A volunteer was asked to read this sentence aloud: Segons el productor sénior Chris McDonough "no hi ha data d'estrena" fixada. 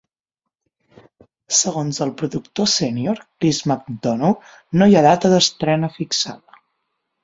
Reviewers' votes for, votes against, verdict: 6, 3, accepted